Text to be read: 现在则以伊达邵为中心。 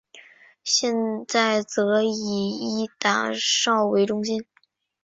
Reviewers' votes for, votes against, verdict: 3, 1, accepted